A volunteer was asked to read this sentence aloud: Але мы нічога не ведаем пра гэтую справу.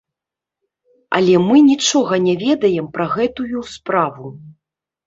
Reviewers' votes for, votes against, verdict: 2, 0, accepted